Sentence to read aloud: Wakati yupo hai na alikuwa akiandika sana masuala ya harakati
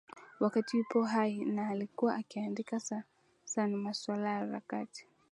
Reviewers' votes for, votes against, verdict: 0, 2, rejected